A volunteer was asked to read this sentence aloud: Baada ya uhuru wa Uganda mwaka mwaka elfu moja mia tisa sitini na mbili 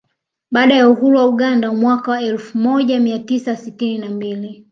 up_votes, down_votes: 2, 0